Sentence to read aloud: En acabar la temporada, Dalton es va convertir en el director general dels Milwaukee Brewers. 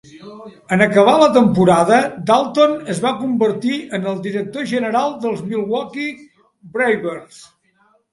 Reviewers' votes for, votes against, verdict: 3, 2, accepted